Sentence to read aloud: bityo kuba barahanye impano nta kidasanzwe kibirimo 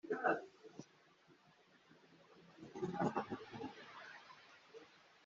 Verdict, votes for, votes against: rejected, 0, 2